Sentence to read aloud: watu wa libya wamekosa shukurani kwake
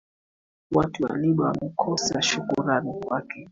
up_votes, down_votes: 1, 2